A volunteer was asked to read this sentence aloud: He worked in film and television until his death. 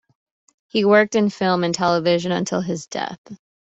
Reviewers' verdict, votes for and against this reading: accepted, 2, 0